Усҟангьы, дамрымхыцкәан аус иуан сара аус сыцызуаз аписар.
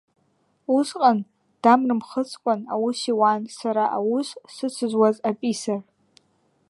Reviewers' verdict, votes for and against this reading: rejected, 1, 2